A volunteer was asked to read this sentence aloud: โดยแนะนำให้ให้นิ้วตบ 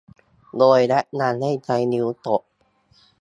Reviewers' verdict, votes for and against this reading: rejected, 0, 2